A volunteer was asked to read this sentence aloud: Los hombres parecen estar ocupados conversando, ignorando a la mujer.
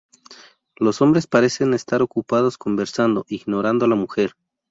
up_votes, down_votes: 0, 2